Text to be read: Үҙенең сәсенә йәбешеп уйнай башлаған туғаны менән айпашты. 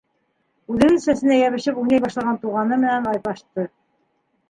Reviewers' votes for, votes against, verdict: 1, 2, rejected